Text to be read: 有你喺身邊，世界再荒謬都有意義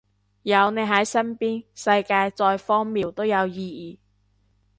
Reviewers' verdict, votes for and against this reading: rejected, 0, 2